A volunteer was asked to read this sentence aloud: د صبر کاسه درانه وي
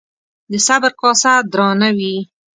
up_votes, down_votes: 2, 0